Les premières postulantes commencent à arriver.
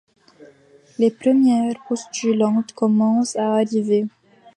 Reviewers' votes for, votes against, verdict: 2, 0, accepted